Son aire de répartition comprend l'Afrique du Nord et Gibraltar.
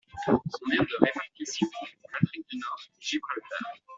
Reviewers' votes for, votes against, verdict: 1, 2, rejected